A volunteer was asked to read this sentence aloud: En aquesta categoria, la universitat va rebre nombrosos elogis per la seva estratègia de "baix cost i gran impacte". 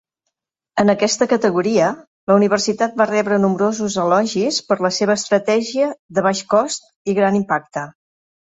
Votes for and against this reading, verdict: 3, 0, accepted